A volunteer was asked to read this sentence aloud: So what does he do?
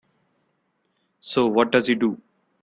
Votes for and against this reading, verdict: 2, 0, accepted